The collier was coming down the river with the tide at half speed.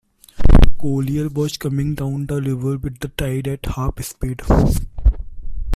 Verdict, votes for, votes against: rejected, 0, 2